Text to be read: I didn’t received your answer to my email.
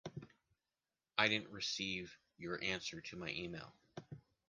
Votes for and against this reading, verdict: 2, 0, accepted